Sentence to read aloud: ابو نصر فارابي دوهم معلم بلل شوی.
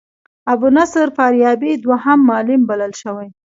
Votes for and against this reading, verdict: 1, 2, rejected